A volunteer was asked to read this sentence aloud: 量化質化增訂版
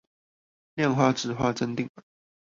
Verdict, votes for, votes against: rejected, 0, 2